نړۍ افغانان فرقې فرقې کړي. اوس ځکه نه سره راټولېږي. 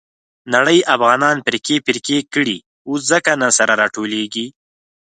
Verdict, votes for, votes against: accepted, 4, 0